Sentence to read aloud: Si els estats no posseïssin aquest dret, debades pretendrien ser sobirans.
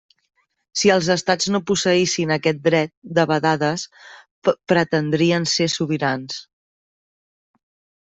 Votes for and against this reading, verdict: 0, 2, rejected